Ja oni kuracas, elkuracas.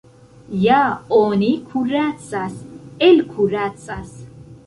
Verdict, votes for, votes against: accepted, 2, 0